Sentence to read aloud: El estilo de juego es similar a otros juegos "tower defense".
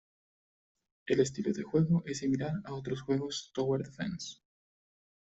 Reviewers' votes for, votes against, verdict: 1, 2, rejected